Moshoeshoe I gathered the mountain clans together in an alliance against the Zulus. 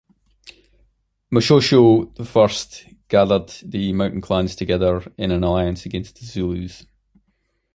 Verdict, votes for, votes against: rejected, 1, 2